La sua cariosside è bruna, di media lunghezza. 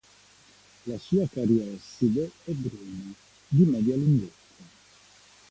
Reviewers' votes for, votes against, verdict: 1, 2, rejected